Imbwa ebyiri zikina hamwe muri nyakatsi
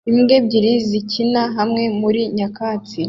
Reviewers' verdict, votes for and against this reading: accepted, 2, 0